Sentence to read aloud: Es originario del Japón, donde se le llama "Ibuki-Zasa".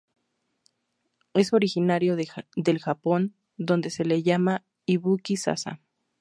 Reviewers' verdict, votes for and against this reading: rejected, 0, 2